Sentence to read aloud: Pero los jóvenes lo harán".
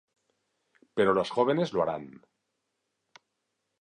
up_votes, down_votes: 2, 0